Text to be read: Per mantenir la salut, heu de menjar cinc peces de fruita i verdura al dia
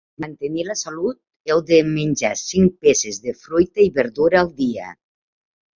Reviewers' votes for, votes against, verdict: 0, 2, rejected